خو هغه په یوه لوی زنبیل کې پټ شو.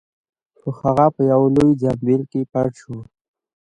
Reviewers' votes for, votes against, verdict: 1, 2, rejected